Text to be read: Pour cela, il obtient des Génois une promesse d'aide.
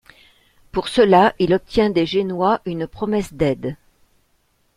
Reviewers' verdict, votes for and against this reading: accepted, 2, 0